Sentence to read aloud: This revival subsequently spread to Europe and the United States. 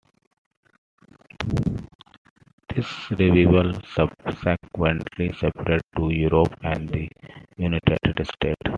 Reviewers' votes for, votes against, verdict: 1, 2, rejected